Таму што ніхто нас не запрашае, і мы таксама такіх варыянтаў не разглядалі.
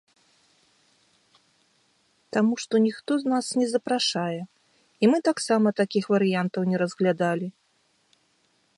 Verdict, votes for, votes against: rejected, 1, 2